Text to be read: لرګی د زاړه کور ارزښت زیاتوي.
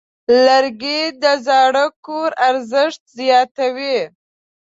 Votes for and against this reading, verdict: 2, 1, accepted